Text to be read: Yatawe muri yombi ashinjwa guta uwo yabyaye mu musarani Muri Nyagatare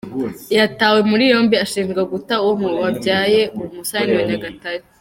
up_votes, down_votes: 2, 0